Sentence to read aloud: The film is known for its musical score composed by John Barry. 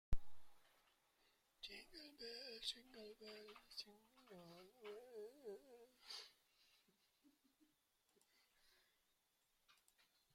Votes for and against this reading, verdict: 0, 2, rejected